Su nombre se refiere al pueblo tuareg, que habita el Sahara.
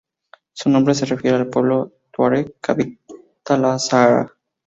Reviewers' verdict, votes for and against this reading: rejected, 0, 2